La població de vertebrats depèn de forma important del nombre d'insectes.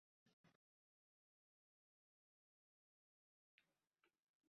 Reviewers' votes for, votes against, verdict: 0, 2, rejected